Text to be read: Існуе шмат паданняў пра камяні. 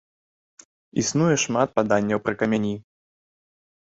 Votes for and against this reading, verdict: 1, 2, rejected